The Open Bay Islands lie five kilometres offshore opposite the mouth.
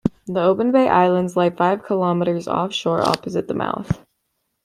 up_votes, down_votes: 2, 0